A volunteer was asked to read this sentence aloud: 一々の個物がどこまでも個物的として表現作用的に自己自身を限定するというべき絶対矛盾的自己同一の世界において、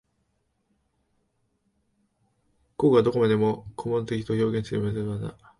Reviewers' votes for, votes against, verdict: 0, 2, rejected